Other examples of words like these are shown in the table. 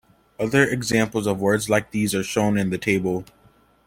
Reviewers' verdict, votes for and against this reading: accepted, 2, 0